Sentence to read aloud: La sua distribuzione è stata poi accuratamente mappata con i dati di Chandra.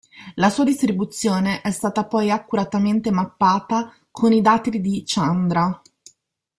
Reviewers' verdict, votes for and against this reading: accepted, 2, 0